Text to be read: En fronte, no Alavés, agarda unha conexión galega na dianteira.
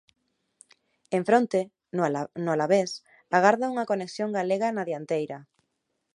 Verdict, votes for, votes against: rejected, 1, 3